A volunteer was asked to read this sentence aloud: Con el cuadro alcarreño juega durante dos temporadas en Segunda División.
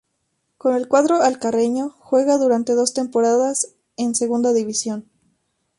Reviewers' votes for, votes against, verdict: 2, 0, accepted